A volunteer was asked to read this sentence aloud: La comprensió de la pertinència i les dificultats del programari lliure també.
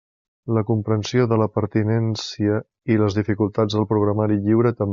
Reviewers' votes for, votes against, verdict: 0, 2, rejected